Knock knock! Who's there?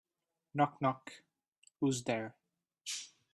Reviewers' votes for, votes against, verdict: 3, 0, accepted